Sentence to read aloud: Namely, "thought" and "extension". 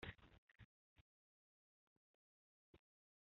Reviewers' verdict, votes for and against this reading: rejected, 0, 3